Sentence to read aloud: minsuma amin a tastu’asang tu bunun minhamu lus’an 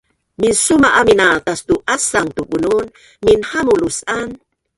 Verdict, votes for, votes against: rejected, 1, 2